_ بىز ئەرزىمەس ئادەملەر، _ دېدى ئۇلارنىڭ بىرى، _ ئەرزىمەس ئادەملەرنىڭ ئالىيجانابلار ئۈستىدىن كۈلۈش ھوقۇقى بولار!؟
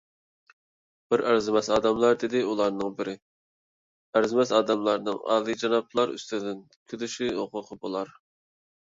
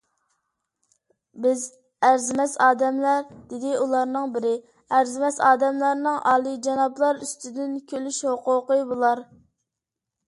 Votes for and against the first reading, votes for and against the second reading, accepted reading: 1, 2, 2, 0, second